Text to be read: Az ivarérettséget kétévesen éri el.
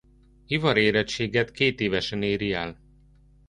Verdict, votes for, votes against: rejected, 0, 2